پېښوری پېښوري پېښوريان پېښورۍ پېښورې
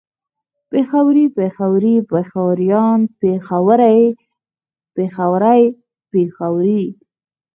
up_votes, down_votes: 0, 4